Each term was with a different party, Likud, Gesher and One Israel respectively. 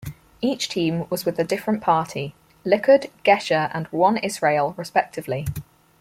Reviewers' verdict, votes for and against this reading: rejected, 0, 4